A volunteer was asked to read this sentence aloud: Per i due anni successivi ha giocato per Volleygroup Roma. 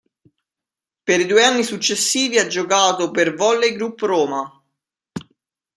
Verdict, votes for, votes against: accepted, 2, 0